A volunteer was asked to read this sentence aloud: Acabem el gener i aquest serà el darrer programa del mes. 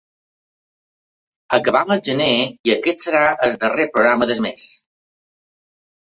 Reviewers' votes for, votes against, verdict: 2, 0, accepted